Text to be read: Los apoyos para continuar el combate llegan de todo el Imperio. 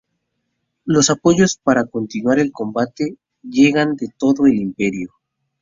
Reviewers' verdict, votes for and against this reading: accepted, 2, 0